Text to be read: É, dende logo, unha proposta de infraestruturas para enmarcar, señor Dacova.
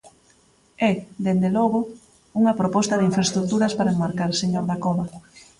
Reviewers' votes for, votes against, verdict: 2, 0, accepted